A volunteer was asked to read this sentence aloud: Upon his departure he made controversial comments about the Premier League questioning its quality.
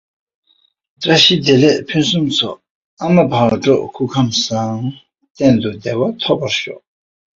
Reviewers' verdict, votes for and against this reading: rejected, 0, 2